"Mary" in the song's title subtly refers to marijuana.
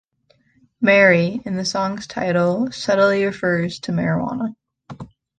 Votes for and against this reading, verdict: 2, 0, accepted